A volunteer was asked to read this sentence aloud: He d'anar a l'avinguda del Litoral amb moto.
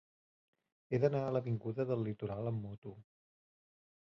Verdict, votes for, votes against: accepted, 2, 0